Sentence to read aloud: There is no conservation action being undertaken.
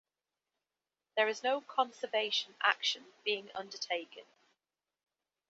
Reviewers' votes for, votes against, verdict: 2, 0, accepted